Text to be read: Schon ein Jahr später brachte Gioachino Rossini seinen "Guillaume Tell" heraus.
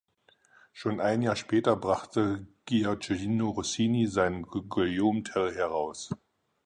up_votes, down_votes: 2, 4